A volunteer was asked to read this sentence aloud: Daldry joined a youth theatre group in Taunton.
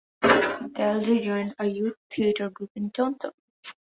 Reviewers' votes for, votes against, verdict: 2, 0, accepted